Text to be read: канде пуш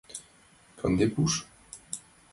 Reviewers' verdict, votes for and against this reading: accepted, 2, 0